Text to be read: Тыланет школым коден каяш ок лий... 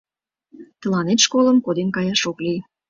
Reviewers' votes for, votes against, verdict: 2, 0, accepted